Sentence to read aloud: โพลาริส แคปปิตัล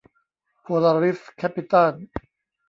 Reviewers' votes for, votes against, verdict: 2, 0, accepted